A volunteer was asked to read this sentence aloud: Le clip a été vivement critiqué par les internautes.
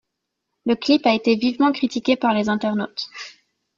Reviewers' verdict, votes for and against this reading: accepted, 2, 0